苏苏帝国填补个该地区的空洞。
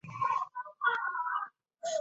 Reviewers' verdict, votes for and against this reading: rejected, 0, 2